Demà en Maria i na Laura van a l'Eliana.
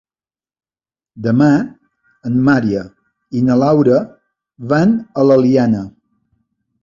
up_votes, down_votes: 1, 2